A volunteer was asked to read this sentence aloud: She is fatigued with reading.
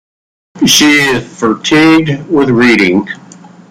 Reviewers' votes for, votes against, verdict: 0, 2, rejected